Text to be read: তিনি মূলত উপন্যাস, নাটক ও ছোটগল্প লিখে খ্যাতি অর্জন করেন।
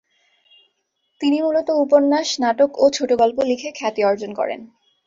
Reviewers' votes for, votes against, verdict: 2, 0, accepted